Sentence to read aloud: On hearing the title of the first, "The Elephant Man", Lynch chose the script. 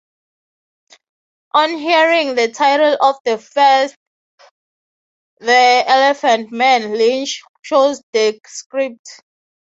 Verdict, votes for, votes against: rejected, 0, 6